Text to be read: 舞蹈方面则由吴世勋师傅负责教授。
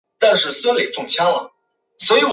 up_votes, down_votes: 1, 2